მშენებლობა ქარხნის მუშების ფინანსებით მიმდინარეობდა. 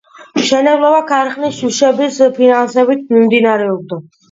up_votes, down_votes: 2, 0